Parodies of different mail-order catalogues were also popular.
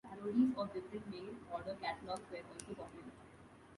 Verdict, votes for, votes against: rejected, 0, 2